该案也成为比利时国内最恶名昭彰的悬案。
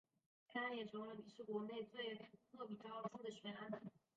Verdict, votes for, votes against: rejected, 1, 2